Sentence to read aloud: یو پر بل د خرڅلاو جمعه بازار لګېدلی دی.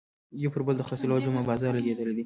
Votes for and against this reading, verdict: 1, 2, rejected